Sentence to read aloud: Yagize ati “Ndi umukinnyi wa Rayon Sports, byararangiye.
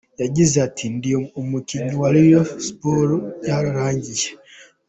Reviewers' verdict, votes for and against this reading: accepted, 2, 0